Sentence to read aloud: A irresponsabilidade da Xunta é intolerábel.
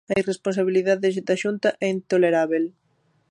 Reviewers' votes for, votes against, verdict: 0, 2, rejected